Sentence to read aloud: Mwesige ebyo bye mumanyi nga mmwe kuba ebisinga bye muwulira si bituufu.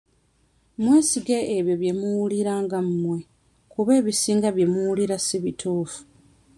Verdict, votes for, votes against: rejected, 0, 2